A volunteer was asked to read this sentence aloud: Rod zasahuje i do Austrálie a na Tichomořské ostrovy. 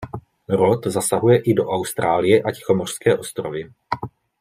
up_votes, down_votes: 1, 2